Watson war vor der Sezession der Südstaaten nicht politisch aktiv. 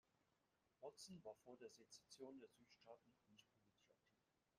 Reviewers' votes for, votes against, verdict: 0, 2, rejected